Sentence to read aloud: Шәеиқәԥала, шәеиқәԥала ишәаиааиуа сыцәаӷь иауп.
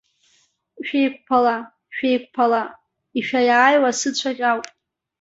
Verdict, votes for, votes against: accepted, 2, 1